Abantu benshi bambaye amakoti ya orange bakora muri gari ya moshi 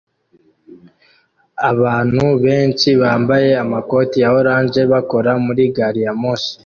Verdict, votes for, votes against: accepted, 2, 1